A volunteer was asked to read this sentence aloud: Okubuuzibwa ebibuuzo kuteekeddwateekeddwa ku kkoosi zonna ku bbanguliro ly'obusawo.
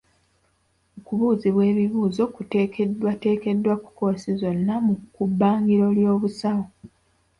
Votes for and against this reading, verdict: 0, 2, rejected